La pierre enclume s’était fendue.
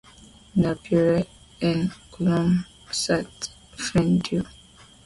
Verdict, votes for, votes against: accepted, 2, 0